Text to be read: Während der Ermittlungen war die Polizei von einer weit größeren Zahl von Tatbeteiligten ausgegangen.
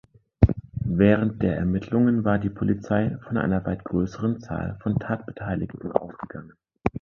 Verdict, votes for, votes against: accepted, 2, 0